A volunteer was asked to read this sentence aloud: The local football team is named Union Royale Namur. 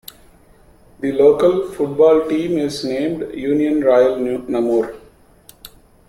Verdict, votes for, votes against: rejected, 0, 2